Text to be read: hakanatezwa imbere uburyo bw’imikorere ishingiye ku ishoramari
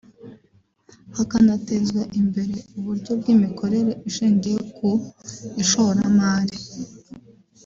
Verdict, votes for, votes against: rejected, 1, 2